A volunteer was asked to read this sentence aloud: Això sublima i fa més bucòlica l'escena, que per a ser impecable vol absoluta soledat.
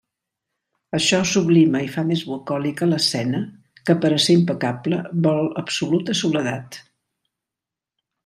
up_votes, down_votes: 2, 0